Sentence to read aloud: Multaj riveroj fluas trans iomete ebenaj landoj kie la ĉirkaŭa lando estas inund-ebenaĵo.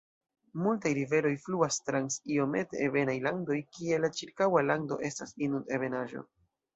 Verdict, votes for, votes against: rejected, 1, 2